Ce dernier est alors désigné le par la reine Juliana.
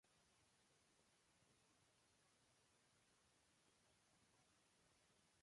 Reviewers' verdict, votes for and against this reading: rejected, 0, 2